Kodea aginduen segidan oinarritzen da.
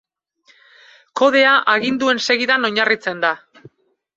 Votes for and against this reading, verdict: 2, 0, accepted